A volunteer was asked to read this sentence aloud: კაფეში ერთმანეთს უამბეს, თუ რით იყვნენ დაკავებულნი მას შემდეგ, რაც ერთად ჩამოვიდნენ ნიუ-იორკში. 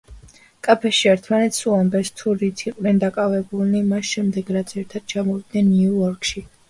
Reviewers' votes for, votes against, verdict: 2, 1, accepted